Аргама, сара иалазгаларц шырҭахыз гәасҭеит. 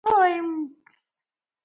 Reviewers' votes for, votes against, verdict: 0, 2, rejected